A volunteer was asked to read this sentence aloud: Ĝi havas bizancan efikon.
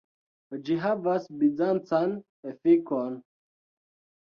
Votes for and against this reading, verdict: 2, 1, accepted